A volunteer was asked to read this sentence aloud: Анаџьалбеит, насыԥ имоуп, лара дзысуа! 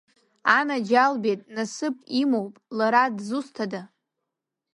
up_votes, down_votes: 0, 2